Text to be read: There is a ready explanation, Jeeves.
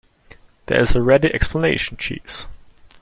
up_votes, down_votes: 2, 0